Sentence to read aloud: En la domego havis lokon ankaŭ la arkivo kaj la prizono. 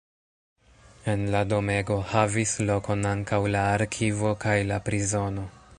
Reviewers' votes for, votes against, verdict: 2, 1, accepted